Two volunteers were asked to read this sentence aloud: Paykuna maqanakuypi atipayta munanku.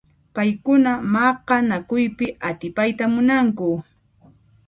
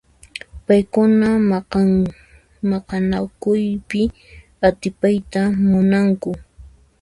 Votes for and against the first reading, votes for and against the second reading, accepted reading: 2, 0, 1, 2, first